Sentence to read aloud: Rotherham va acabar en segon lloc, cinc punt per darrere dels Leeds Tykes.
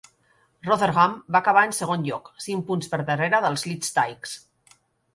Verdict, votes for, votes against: accepted, 2, 0